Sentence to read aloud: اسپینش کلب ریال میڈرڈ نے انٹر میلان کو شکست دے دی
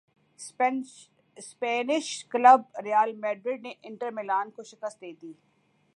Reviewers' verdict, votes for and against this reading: rejected, 1, 2